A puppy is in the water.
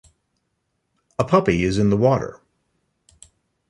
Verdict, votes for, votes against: rejected, 1, 2